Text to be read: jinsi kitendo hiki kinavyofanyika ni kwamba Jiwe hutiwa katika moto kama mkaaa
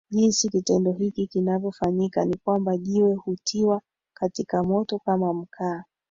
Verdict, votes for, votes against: accepted, 2, 1